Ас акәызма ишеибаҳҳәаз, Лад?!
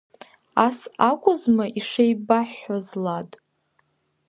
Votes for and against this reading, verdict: 2, 0, accepted